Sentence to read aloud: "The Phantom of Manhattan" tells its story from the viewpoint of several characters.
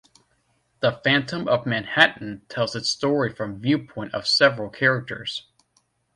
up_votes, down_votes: 1, 2